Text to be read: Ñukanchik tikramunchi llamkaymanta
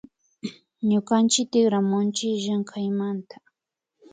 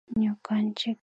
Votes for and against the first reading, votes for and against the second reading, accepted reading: 2, 0, 0, 2, first